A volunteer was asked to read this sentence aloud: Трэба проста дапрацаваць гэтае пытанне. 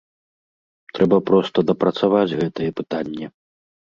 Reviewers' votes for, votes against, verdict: 2, 0, accepted